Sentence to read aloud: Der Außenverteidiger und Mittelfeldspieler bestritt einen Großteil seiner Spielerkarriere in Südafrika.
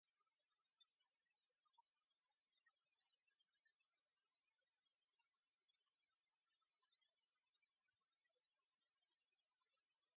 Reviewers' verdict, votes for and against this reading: rejected, 0, 2